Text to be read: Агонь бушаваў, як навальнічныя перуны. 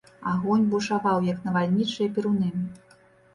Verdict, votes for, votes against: rejected, 1, 2